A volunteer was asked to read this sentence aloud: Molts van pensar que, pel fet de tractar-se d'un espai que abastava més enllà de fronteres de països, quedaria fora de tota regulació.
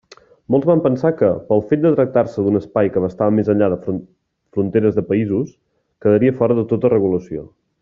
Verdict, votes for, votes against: rejected, 1, 2